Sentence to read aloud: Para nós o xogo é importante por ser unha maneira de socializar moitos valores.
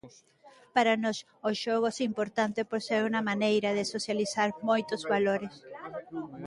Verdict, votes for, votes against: rejected, 0, 2